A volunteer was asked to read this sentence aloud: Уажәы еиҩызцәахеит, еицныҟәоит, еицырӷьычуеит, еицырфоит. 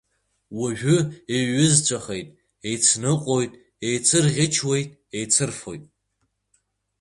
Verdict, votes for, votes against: accepted, 2, 0